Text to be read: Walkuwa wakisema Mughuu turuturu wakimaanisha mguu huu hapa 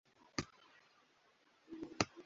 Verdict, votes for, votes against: rejected, 0, 2